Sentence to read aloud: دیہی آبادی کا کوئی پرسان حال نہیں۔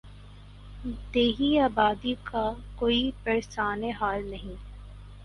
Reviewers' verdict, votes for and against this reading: rejected, 2, 2